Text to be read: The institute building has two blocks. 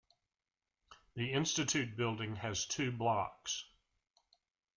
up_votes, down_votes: 1, 2